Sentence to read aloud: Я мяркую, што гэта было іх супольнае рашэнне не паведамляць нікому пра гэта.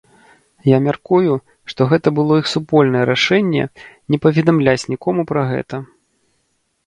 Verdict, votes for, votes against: accepted, 2, 0